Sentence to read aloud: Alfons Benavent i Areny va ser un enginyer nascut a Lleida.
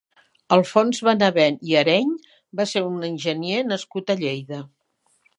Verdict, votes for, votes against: rejected, 1, 2